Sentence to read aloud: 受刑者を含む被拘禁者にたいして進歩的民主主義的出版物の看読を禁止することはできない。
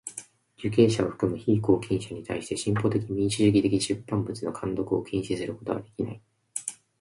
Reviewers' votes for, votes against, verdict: 2, 0, accepted